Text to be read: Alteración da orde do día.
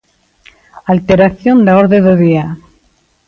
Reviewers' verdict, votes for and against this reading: accepted, 2, 0